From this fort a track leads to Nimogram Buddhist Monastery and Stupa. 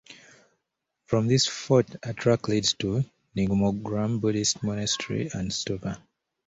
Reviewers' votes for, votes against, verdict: 2, 0, accepted